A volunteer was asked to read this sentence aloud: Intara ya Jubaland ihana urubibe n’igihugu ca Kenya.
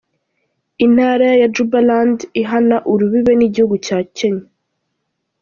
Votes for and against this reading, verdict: 2, 0, accepted